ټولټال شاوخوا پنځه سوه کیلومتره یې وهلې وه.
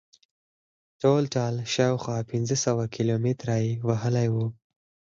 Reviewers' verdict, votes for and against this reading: rejected, 2, 4